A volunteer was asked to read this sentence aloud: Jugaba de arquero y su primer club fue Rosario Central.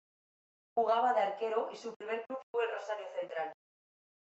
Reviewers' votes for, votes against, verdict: 2, 0, accepted